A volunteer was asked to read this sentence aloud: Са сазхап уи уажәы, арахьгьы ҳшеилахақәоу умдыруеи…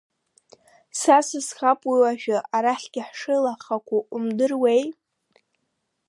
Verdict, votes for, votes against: rejected, 0, 2